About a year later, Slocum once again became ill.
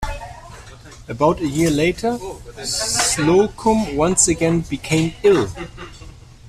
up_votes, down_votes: 1, 2